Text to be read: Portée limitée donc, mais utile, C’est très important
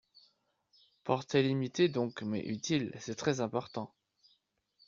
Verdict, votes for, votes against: accepted, 4, 0